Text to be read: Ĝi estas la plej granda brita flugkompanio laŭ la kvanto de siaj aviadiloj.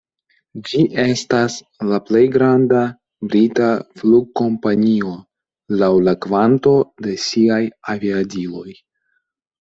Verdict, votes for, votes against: accepted, 2, 0